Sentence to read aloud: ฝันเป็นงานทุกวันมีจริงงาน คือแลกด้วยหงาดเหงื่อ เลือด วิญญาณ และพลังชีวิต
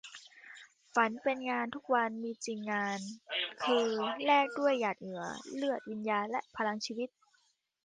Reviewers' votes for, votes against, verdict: 1, 2, rejected